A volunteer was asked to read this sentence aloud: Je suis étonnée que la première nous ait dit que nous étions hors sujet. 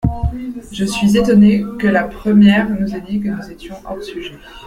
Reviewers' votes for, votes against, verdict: 2, 0, accepted